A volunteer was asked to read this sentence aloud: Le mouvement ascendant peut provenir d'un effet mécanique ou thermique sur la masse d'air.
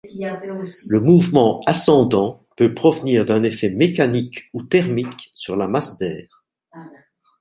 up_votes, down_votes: 1, 2